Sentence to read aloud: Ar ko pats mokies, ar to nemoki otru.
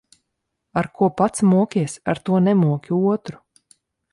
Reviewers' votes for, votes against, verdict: 2, 0, accepted